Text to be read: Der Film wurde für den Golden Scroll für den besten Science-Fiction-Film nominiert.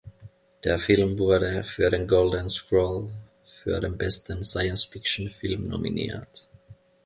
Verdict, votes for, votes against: accepted, 2, 0